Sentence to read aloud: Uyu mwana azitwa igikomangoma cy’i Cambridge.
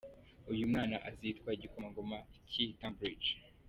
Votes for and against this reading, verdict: 2, 0, accepted